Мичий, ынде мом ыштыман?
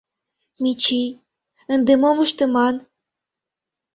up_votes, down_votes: 2, 0